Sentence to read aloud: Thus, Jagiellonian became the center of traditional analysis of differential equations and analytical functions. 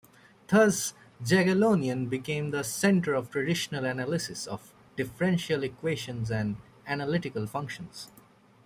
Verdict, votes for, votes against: accepted, 2, 1